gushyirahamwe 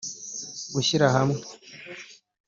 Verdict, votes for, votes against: rejected, 0, 2